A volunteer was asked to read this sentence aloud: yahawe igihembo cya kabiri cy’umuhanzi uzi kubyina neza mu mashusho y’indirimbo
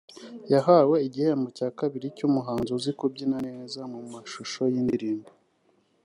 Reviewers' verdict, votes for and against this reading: accepted, 2, 0